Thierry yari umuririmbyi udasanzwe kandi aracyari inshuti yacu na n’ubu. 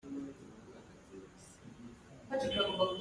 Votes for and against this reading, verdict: 1, 2, rejected